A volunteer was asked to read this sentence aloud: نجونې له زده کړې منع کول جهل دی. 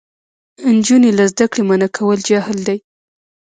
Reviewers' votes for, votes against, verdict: 2, 1, accepted